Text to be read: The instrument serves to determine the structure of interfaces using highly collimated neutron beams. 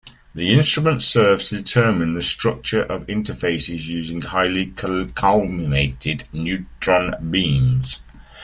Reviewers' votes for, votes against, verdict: 0, 2, rejected